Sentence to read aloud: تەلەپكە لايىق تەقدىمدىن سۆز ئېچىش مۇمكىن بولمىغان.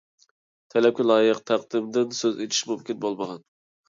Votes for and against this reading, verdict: 2, 0, accepted